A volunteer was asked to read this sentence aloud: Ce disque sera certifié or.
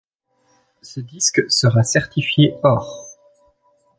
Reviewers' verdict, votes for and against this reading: accepted, 2, 0